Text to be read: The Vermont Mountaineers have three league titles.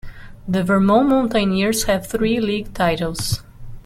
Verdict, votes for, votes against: accepted, 2, 0